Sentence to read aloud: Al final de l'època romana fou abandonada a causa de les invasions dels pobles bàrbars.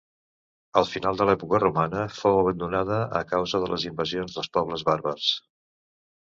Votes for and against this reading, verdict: 2, 0, accepted